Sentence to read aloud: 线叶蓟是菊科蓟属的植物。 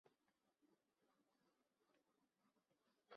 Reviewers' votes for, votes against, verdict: 0, 2, rejected